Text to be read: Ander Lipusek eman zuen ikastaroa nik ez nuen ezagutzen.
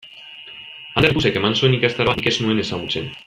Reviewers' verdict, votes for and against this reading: rejected, 1, 2